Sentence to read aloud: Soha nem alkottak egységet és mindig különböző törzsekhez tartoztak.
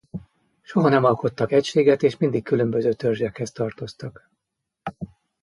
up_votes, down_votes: 2, 0